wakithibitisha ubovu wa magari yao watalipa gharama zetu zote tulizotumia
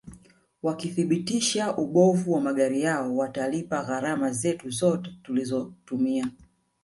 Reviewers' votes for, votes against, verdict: 6, 0, accepted